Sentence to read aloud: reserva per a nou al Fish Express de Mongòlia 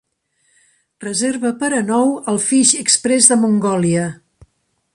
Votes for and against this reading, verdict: 2, 0, accepted